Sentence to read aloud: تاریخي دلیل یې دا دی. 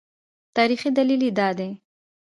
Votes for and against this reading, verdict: 2, 1, accepted